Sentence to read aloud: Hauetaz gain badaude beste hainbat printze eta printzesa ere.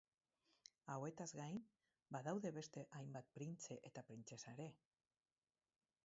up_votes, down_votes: 2, 2